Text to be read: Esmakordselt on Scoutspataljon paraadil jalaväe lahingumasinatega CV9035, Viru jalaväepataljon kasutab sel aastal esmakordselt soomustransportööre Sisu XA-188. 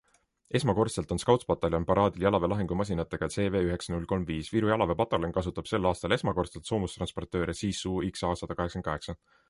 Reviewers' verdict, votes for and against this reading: rejected, 0, 2